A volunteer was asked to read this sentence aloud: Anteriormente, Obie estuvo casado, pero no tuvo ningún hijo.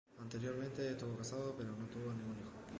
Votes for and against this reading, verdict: 0, 2, rejected